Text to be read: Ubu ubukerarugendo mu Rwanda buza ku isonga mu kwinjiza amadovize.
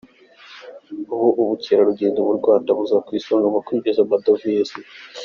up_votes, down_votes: 2, 0